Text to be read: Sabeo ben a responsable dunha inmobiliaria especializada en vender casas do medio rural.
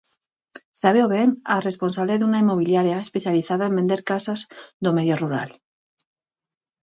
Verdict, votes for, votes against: accepted, 4, 0